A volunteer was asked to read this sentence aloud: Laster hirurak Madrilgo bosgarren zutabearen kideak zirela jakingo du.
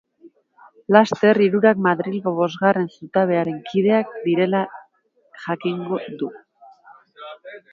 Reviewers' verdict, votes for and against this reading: rejected, 0, 2